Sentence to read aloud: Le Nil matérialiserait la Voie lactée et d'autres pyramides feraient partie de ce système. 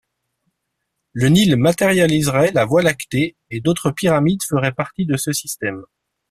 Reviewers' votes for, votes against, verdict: 2, 0, accepted